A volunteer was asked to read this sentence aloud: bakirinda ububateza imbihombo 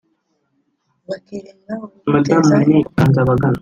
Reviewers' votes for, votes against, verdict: 1, 2, rejected